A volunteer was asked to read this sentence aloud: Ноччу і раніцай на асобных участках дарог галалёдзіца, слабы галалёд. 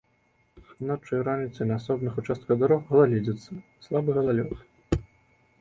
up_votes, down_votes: 2, 0